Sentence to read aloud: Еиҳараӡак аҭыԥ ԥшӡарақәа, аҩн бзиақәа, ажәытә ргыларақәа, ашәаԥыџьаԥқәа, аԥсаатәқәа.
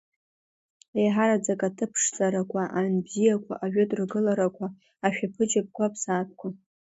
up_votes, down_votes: 2, 1